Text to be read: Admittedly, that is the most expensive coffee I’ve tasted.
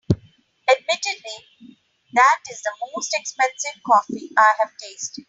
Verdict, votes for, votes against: accepted, 2, 0